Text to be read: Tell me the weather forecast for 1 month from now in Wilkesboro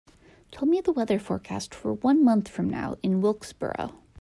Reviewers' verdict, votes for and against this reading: rejected, 0, 2